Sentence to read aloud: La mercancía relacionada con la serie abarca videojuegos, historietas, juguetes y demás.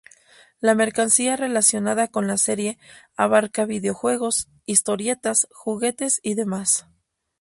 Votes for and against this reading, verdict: 2, 0, accepted